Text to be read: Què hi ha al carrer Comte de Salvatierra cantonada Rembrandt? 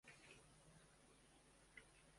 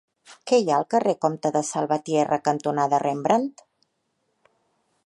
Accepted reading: second